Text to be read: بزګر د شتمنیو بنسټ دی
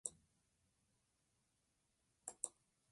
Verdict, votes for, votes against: rejected, 0, 2